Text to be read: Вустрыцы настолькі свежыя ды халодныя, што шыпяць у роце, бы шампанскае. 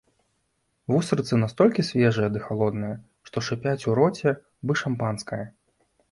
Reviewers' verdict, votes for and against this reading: accepted, 3, 0